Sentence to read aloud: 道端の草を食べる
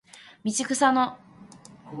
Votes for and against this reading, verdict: 0, 2, rejected